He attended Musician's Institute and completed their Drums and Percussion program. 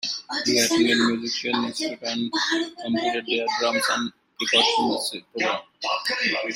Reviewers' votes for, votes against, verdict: 0, 2, rejected